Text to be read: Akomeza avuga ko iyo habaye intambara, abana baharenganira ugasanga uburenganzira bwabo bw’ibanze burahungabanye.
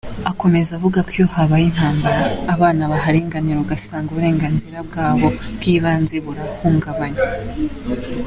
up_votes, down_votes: 2, 0